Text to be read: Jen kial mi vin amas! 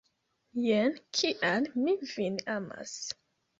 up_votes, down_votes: 2, 0